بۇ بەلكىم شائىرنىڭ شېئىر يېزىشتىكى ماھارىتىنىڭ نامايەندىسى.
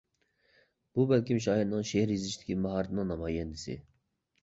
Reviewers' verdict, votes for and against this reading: accepted, 2, 1